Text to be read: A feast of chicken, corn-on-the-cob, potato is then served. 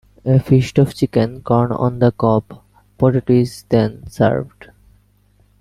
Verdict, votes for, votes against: accepted, 2, 1